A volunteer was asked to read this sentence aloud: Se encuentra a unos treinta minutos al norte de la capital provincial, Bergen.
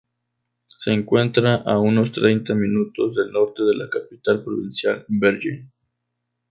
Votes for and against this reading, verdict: 0, 2, rejected